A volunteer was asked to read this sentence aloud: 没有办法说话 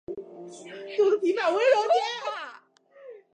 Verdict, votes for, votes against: rejected, 0, 2